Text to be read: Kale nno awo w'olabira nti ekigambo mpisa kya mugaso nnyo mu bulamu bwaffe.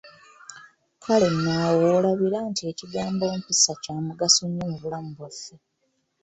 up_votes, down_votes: 0, 2